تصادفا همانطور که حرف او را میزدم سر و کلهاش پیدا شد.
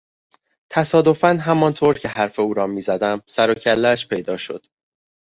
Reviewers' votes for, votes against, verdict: 2, 0, accepted